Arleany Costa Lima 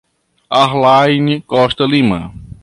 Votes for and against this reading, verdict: 1, 2, rejected